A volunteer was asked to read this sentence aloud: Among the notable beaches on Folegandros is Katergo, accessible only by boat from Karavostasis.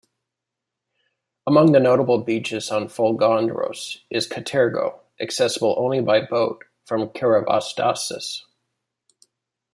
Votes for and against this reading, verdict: 1, 2, rejected